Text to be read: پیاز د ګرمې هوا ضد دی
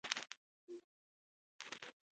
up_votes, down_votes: 0, 2